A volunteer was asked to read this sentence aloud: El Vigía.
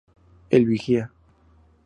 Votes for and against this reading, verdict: 4, 0, accepted